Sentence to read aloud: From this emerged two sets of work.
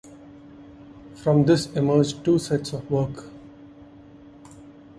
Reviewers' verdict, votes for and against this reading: accepted, 2, 0